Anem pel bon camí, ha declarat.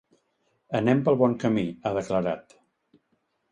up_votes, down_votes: 2, 0